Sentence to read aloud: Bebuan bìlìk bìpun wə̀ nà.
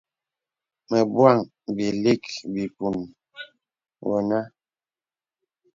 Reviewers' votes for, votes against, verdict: 1, 2, rejected